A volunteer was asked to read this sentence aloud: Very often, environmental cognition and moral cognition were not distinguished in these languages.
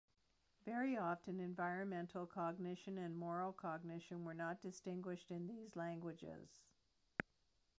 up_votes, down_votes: 2, 1